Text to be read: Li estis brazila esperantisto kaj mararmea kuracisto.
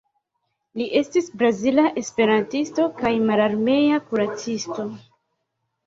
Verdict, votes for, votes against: rejected, 0, 2